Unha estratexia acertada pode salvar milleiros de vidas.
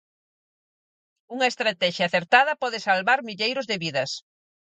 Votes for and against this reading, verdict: 4, 0, accepted